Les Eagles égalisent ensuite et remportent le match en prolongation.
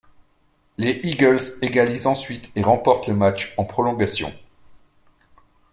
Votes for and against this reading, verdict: 2, 0, accepted